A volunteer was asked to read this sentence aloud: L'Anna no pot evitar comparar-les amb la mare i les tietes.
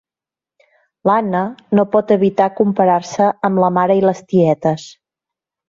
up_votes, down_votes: 0, 2